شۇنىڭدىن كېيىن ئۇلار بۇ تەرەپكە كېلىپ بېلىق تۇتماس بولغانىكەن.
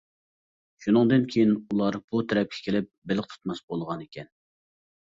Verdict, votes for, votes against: accepted, 2, 0